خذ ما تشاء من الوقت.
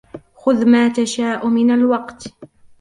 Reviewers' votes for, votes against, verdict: 0, 2, rejected